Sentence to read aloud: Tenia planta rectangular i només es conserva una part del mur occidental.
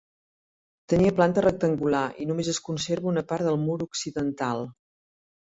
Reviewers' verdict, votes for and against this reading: accepted, 3, 0